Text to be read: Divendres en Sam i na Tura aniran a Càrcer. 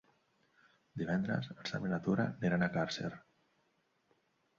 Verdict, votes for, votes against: rejected, 0, 2